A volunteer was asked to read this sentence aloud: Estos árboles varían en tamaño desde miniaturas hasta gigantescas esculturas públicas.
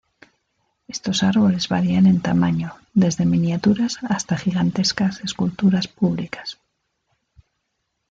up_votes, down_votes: 2, 0